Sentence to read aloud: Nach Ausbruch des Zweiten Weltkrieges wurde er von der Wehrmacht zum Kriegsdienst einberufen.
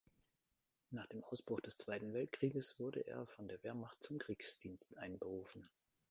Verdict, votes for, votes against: rejected, 0, 2